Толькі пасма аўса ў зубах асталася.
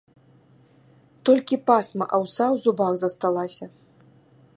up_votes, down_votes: 1, 2